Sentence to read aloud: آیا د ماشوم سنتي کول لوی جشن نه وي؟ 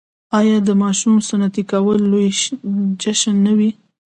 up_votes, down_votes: 2, 0